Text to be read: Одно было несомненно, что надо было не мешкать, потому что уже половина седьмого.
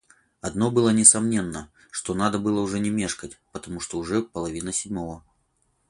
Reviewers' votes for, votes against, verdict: 4, 0, accepted